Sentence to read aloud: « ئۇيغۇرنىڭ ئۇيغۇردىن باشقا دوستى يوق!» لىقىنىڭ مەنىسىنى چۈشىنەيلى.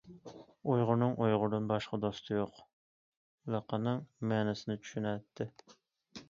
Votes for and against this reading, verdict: 0, 2, rejected